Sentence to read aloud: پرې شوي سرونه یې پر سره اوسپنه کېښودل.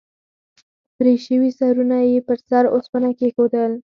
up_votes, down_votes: 0, 4